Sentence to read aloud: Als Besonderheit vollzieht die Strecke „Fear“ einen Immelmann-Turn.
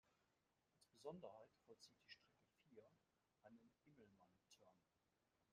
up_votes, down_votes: 0, 2